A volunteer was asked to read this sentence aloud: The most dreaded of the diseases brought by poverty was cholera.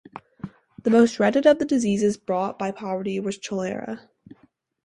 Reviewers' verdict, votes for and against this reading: rejected, 2, 2